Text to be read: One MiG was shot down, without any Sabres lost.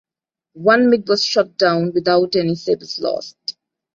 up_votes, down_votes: 2, 0